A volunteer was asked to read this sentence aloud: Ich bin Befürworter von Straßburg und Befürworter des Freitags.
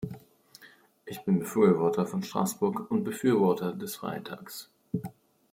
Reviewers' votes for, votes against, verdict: 1, 2, rejected